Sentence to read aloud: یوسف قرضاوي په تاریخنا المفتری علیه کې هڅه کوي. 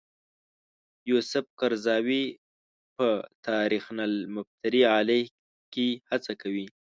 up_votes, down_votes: 1, 2